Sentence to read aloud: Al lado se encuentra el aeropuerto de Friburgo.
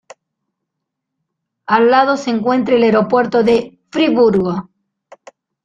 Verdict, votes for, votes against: rejected, 1, 3